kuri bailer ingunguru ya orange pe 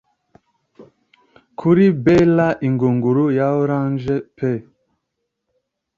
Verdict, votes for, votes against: accepted, 2, 0